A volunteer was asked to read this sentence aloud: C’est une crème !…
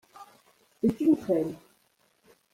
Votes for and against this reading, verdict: 1, 2, rejected